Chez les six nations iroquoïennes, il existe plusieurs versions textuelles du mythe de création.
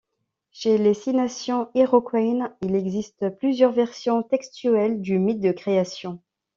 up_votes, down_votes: 2, 0